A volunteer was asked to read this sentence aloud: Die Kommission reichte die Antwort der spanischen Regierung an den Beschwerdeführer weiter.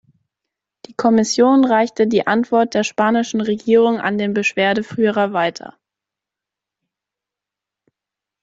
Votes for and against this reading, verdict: 2, 0, accepted